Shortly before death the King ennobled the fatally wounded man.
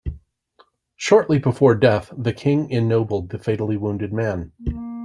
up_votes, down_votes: 2, 0